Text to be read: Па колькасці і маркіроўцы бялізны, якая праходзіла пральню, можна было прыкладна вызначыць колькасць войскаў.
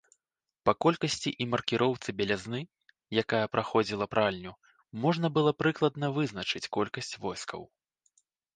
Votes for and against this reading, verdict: 1, 2, rejected